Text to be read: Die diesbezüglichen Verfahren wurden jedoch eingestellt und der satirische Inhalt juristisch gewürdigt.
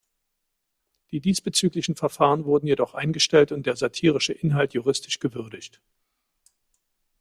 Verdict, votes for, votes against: rejected, 1, 2